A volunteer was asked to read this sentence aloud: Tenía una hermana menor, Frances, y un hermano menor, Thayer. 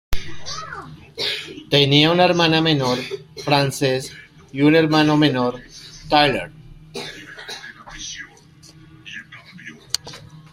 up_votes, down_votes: 0, 2